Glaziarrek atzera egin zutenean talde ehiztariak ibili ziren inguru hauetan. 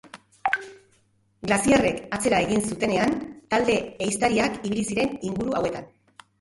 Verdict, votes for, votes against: rejected, 1, 2